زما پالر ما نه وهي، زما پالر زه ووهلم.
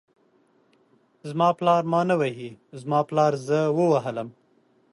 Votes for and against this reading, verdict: 2, 0, accepted